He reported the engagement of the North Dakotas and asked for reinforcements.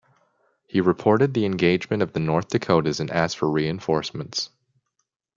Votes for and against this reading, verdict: 1, 2, rejected